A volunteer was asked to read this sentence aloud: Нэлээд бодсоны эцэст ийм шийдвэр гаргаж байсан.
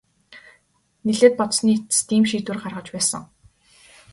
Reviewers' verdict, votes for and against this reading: rejected, 2, 2